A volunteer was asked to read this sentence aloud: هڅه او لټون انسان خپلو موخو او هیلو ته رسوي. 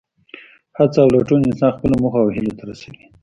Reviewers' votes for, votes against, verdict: 1, 2, rejected